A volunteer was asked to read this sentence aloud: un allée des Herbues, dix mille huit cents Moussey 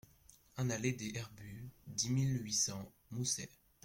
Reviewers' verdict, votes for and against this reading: accepted, 2, 0